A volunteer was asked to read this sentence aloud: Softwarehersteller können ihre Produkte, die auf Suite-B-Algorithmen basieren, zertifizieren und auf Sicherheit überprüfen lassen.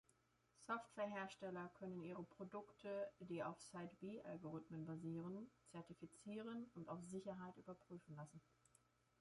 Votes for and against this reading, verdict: 1, 2, rejected